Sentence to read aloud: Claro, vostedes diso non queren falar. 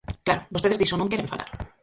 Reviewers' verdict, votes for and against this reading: rejected, 0, 4